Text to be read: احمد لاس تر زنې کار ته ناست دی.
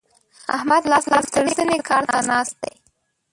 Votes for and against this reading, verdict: 0, 2, rejected